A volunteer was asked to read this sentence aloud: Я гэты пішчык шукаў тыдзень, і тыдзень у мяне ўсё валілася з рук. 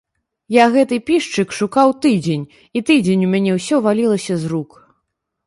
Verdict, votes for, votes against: accepted, 2, 0